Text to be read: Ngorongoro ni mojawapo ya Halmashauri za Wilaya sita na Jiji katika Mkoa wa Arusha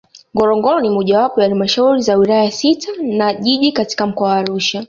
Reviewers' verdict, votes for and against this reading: accepted, 2, 1